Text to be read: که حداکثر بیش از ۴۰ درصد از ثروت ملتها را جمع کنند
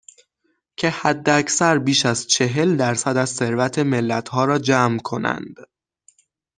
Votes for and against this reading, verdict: 0, 2, rejected